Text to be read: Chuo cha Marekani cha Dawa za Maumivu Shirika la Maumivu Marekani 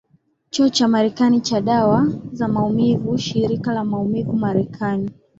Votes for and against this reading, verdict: 2, 0, accepted